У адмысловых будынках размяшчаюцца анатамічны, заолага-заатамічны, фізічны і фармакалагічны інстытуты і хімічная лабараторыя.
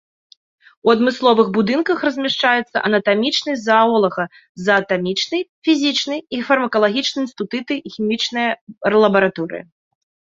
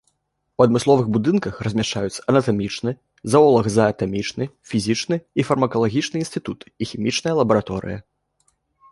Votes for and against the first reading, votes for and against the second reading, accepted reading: 0, 2, 2, 0, second